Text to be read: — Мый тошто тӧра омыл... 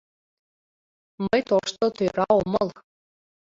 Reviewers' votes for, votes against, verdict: 2, 0, accepted